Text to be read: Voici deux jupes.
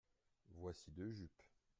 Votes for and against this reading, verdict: 2, 0, accepted